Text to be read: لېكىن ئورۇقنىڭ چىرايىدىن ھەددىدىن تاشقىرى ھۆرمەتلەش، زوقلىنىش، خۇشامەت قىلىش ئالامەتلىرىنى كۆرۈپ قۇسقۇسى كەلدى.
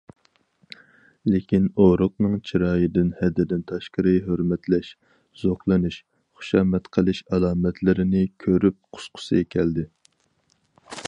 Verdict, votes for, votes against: accepted, 4, 0